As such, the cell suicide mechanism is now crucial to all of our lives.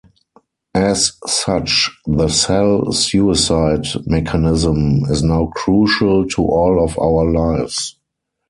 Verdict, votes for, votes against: rejected, 2, 4